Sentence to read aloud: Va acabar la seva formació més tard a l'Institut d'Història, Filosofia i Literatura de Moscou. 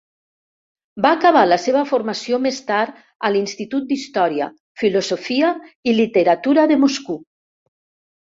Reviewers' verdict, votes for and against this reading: rejected, 2, 4